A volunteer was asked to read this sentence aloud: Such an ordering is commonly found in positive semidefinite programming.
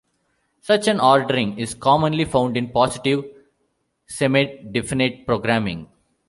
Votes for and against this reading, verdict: 0, 2, rejected